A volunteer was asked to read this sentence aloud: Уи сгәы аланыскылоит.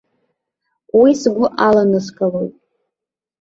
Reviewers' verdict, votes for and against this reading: accepted, 2, 0